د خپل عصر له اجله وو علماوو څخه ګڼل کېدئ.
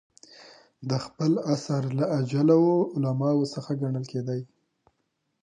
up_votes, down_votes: 2, 0